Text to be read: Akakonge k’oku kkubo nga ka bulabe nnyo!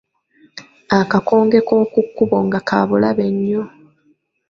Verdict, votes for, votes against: rejected, 0, 2